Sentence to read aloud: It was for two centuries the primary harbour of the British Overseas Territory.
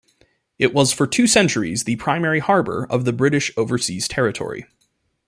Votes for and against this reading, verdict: 2, 0, accepted